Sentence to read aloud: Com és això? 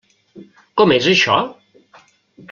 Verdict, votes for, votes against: accepted, 3, 0